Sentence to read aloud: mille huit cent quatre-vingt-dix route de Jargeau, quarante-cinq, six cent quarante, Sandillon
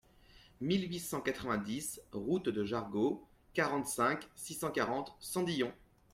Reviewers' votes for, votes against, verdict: 1, 2, rejected